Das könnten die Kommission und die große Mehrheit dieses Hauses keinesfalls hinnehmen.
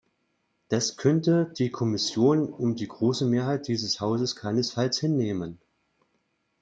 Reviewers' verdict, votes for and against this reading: rejected, 0, 2